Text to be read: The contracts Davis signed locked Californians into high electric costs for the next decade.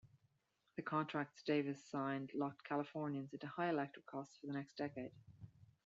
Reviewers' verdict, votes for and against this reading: rejected, 0, 2